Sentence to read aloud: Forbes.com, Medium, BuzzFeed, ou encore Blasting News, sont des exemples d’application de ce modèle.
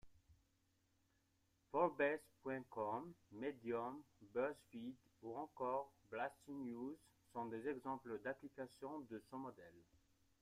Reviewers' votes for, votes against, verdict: 2, 0, accepted